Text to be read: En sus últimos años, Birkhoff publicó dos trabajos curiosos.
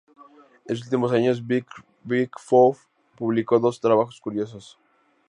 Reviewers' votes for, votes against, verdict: 0, 2, rejected